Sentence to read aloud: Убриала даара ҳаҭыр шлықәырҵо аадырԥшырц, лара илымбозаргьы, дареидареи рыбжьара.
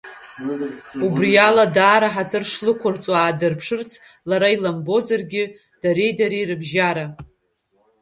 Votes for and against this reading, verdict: 0, 2, rejected